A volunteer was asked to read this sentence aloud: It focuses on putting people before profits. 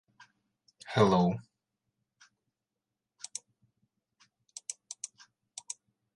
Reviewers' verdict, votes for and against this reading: rejected, 0, 2